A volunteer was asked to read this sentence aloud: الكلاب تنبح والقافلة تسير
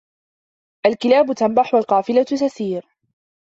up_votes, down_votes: 2, 0